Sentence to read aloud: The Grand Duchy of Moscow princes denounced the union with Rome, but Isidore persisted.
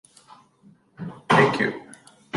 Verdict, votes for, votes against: rejected, 0, 2